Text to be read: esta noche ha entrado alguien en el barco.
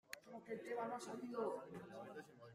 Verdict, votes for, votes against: rejected, 0, 2